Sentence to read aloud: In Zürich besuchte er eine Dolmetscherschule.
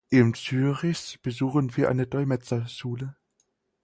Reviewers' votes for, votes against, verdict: 0, 4, rejected